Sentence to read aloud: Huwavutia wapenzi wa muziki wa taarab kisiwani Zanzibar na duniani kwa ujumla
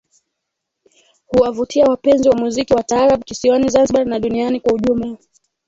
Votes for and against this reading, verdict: 2, 0, accepted